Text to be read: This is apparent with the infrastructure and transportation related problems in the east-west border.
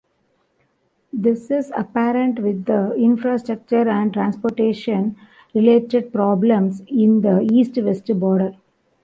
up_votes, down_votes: 0, 2